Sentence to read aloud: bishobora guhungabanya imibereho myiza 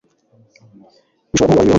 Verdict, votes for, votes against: rejected, 1, 2